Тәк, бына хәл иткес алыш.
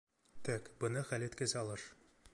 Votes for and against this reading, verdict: 0, 2, rejected